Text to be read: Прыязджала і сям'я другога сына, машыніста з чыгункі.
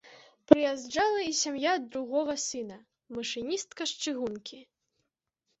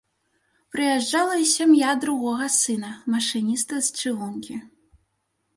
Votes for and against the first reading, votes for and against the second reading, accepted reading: 0, 2, 2, 0, second